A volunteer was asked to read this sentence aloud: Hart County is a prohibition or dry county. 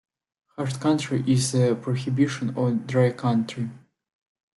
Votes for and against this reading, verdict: 1, 2, rejected